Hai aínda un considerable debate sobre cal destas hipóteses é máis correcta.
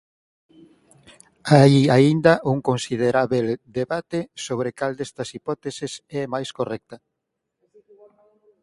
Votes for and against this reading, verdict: 0, 4, rejected